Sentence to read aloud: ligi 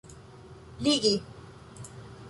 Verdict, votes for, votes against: accepted, 2, 0